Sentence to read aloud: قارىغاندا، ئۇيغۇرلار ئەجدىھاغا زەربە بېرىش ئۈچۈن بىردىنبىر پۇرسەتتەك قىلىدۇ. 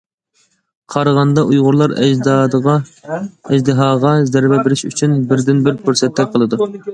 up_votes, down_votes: 0, 2